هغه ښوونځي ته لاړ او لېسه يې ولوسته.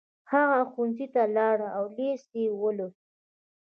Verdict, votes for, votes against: accepted, 2, 0